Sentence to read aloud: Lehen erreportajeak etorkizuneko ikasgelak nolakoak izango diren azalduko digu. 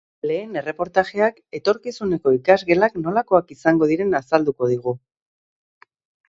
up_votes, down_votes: 2, 0